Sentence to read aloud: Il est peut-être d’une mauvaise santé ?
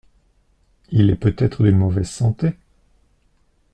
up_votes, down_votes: 1, 2